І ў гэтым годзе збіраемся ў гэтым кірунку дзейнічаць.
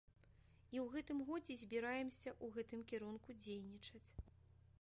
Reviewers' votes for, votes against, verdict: 1, 2, rejected